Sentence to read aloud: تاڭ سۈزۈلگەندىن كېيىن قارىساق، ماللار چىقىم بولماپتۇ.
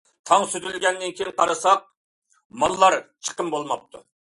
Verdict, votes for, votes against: accepted, 2, 0